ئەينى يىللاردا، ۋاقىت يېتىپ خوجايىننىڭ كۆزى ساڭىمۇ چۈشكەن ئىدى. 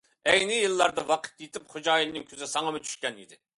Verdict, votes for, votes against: accepted, 2, 0